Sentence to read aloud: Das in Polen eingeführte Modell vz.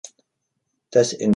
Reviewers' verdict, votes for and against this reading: rejected, 0, 3